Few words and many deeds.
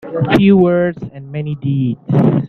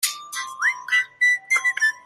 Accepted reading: first